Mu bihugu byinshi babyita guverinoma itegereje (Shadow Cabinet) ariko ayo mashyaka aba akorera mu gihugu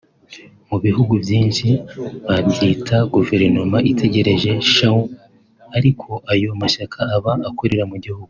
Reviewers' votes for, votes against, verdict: 2, 3, rejected